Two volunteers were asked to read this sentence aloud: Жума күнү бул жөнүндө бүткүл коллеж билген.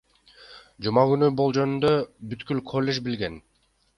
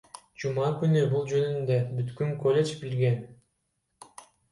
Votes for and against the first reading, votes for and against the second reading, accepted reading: 2, 1, 1, 2, first